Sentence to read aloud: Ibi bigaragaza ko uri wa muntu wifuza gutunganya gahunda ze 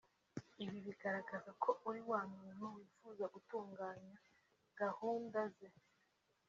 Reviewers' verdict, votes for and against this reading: accepted, 4, 0